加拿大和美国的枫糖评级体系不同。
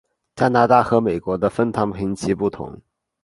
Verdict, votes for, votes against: rejected, 0, 3